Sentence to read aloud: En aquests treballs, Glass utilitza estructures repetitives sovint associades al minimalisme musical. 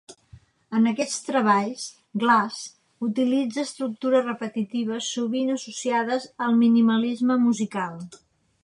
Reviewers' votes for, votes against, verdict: 3, 0, accepted